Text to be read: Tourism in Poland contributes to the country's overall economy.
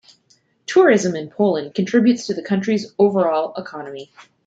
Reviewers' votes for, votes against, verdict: 2, 0, accepted